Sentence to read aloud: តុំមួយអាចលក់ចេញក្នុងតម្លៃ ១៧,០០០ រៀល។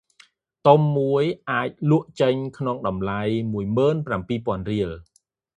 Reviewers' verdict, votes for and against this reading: rejected, 0, 2